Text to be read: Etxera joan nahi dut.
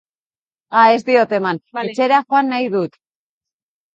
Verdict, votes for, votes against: rejected, 0, 2